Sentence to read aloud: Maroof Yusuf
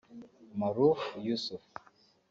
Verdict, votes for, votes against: rejected, 0, 2